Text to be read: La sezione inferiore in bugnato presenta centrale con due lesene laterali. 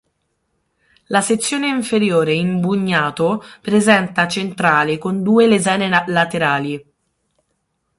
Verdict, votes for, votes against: rejected, 3, 6